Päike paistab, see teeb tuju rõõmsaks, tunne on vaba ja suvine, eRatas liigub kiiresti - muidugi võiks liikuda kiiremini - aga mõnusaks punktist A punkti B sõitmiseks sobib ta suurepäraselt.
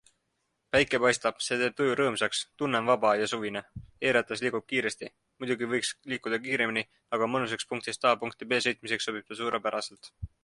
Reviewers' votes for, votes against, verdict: 2, 0, accepted